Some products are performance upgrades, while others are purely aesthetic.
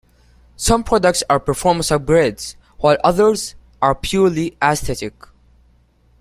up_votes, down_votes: 2, 0